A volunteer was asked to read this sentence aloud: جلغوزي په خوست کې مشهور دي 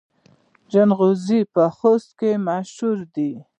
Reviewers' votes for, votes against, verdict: 2, 0, accepted